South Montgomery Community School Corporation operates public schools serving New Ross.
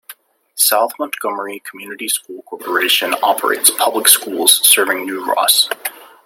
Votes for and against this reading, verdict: 2, 0, accepted